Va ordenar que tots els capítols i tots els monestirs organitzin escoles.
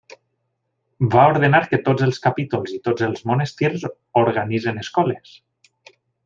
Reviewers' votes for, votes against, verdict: 2, 0, accepted